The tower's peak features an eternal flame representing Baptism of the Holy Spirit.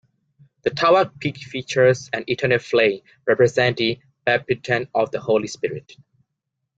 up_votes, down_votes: 0, 2